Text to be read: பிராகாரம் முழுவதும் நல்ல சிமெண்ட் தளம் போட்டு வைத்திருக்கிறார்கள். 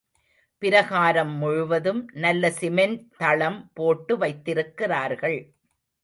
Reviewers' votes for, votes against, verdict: 0, 2, rejected